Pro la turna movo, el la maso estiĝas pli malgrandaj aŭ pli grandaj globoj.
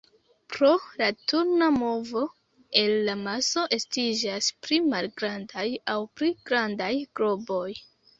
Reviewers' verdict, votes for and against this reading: rejected, 0, 2